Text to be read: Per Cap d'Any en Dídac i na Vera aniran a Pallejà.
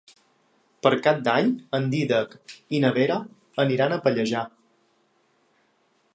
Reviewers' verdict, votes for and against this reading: accepted, 2, 0